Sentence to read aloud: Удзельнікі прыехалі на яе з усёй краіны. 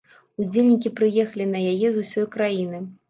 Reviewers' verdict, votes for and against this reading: accepted, 2, 0